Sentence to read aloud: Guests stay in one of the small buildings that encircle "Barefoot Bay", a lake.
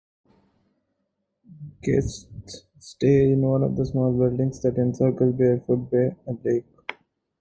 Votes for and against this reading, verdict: 1, 2, rejected